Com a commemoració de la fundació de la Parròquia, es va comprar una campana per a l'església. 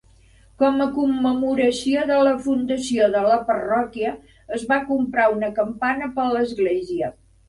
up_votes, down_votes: 1, 2